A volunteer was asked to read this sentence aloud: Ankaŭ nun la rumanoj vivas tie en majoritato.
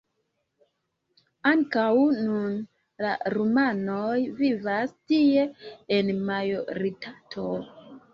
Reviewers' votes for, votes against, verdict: 2, 1, accepted